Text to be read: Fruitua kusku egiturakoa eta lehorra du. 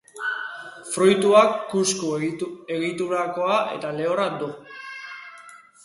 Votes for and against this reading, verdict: 1, 2, rejected